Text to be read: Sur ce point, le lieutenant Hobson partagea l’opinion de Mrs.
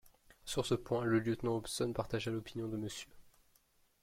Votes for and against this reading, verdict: 1, 2, rejected